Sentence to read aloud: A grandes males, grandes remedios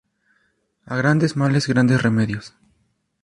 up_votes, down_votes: 4, 0